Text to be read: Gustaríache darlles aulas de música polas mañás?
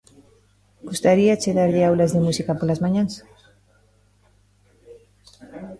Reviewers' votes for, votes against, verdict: 0, 2, rejected